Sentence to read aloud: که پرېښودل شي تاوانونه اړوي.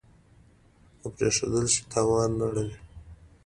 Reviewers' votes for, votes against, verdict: 2, 0, accepted